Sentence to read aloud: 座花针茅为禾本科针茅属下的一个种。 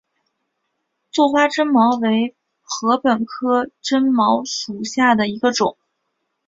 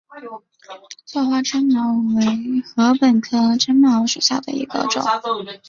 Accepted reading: first